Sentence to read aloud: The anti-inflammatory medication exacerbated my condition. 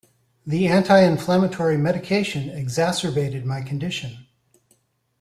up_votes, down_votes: 2, 0